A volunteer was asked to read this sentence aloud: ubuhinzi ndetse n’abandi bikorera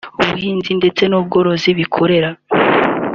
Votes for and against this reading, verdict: 3, 2, accepted